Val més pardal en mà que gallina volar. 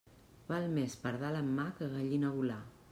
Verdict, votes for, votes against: accepted, 2, 0